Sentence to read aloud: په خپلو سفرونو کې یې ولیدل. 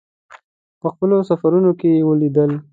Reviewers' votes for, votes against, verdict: 2, 0, accepted